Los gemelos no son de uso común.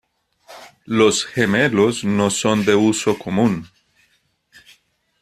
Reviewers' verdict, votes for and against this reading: accepted, 2, 0